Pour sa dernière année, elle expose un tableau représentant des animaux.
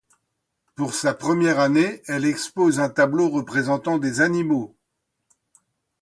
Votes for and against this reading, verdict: 0, 2, rejected